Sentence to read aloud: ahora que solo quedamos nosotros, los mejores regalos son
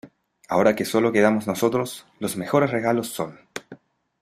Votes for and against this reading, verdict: 2, 0, accepted